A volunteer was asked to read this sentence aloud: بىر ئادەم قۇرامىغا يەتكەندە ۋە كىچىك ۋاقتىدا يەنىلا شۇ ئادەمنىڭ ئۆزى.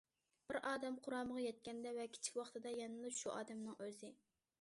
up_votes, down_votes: 2, 0